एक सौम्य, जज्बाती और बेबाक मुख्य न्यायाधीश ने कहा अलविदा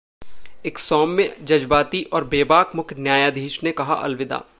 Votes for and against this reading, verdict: 1, 2, rejected